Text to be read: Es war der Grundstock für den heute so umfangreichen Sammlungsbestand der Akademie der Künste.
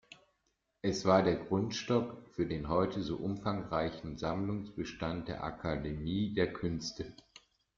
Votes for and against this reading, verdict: 2, 0, accepted